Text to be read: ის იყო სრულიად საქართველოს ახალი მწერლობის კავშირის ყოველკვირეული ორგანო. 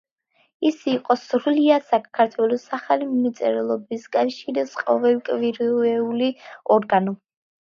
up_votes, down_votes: 0, 2